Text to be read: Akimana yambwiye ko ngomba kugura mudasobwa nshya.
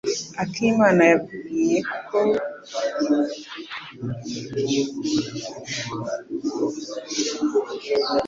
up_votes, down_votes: 1, 2